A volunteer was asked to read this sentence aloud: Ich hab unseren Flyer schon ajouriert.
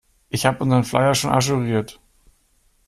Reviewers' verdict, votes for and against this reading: accepted, 3, 0